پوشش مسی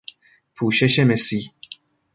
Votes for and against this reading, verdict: 2, 1, accepted